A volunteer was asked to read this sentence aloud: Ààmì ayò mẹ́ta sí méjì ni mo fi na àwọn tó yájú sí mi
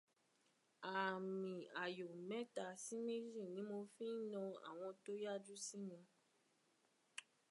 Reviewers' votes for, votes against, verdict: 1, 2, rejected